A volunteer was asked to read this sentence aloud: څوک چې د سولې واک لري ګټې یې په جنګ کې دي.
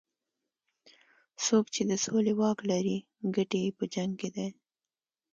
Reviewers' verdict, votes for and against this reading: accepted, 2, 1